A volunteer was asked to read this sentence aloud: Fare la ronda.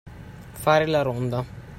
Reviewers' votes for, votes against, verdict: 2, 0, accepted